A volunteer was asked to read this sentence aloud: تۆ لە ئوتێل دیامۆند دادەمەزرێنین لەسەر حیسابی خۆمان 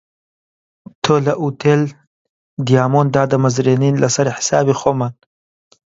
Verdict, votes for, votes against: accepted, 2, 0